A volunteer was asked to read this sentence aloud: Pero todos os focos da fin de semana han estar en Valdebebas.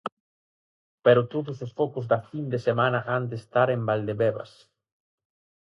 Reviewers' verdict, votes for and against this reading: rejected, 2, 2